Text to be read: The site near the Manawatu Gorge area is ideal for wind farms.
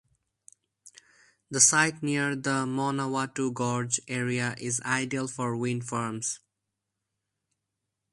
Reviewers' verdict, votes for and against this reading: accepted, 4, 0